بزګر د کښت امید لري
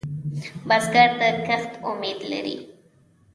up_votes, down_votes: 2, 0